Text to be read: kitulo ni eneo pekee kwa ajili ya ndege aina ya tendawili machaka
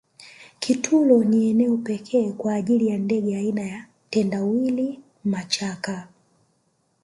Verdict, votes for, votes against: accepted, 2, 0